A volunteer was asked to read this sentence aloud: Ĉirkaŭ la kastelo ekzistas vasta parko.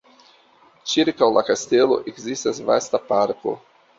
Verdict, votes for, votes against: accepted, 2, 1